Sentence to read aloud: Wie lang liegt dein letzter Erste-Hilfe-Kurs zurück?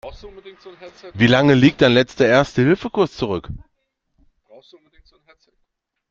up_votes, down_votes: 2, 1